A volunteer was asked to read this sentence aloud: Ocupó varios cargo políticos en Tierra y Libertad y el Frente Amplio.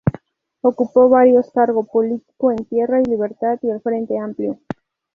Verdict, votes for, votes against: rejected, 0, 2